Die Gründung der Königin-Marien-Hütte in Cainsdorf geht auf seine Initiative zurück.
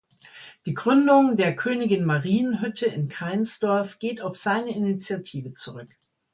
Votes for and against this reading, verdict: 2, 0, accepted